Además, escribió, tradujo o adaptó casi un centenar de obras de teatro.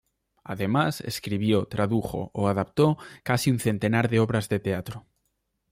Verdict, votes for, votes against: accepted, 2, 0